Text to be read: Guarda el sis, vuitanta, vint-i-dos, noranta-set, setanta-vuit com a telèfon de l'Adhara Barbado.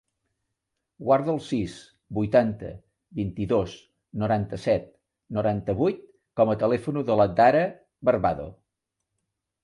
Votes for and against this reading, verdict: 1, 2, rejected